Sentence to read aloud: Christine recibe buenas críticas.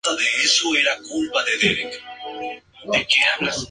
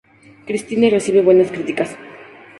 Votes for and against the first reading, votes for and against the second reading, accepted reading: 0, 2, 4, 2, second